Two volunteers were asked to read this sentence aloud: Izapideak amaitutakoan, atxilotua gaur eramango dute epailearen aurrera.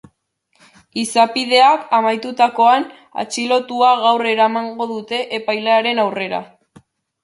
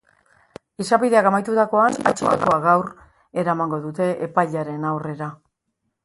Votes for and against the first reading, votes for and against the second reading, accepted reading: 2, 0, 0, 2, first